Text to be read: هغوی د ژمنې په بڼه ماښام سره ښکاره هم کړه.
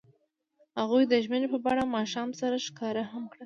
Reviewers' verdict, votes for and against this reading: accepted, 2, 0